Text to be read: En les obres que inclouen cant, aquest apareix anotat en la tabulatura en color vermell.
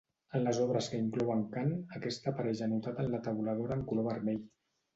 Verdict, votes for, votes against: accepted, 2, 0